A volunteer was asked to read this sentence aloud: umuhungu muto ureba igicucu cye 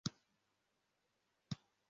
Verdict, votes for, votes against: rejected, 0, 2